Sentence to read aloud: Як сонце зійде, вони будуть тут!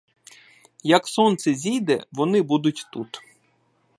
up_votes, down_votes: 2, 0